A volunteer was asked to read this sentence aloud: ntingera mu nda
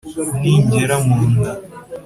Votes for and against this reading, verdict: 3, 0, accepted